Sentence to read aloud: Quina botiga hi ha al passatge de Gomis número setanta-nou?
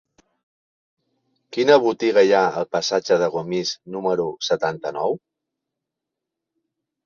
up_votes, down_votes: 1, 2